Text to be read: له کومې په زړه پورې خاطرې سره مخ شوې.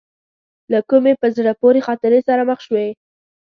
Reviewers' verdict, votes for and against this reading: rejected, 1, 2